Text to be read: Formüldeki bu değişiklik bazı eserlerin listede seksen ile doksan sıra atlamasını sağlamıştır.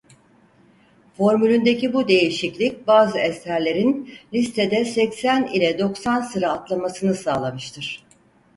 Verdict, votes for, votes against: rejected, 0, 4